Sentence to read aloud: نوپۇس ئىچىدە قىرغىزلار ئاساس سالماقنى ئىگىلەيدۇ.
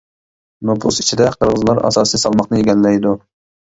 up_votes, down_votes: 0, 2